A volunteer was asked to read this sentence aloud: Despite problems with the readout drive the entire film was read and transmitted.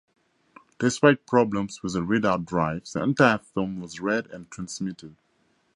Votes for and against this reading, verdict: 4, 0, accepted